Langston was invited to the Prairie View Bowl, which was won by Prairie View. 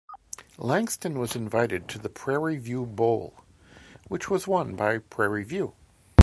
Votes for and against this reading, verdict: 2, 0, accepted